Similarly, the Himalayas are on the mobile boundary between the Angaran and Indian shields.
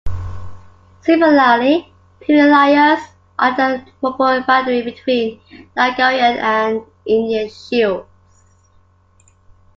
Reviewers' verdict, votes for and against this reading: rejected, 0, 2